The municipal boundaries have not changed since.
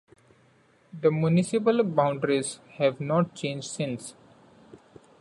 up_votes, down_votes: 0, 2